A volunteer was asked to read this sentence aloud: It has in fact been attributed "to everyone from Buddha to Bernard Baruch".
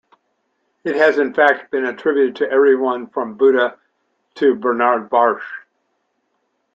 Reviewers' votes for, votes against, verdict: 0, 2, rejected